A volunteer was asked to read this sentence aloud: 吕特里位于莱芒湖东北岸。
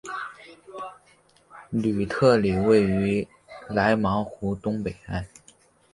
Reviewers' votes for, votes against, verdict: 3, 0, accepted